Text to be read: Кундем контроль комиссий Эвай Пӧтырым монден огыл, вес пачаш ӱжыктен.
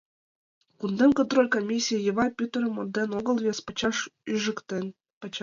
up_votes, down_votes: 1, 2